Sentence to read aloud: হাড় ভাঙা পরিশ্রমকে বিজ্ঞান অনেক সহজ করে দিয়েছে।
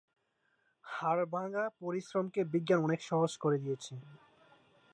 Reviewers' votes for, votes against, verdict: 2, 0, accepted